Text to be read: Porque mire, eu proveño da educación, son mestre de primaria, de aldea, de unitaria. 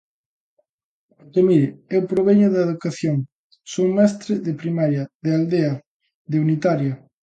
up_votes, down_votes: 2, 0